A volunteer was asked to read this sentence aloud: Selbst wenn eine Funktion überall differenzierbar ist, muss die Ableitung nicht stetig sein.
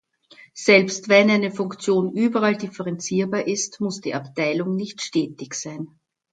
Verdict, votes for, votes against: rejected, 0, 2